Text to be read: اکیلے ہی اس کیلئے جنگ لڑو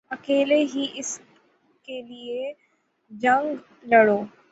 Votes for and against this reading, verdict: 9, 0, accepted